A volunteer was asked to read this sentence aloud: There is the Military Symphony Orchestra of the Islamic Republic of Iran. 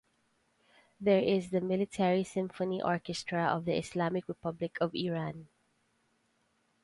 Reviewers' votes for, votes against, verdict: 2, 0, accepted